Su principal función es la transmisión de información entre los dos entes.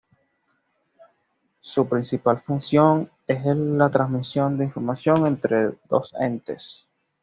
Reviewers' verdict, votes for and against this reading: rejected, 1, 2